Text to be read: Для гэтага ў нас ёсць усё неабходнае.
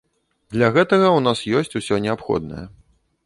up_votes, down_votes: 2, 0